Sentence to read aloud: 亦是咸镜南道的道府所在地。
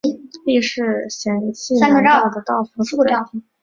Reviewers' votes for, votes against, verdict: 0, 2, rejected